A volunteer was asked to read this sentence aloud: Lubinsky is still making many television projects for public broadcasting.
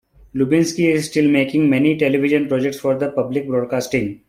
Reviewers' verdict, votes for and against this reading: rejected, 0, 2